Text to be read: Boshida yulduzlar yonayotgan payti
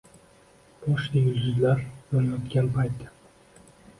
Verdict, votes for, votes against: accepted, 2, 1